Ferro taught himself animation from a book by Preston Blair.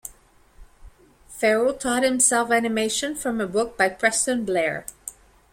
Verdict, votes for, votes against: accepted, 2, 0